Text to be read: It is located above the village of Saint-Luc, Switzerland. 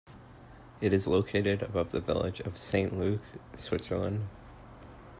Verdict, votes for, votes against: accepted, 2, 0